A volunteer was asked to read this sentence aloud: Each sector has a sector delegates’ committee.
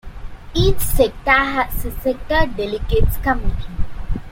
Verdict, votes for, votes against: accepted, 2, 0